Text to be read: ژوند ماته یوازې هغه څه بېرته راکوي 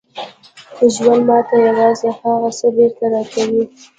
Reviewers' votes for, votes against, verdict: 2, 0, accepted